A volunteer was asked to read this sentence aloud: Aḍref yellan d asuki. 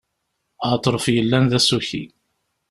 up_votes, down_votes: 2, 0